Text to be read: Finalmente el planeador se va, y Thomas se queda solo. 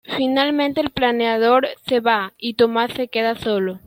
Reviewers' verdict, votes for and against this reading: accepted, 2, 1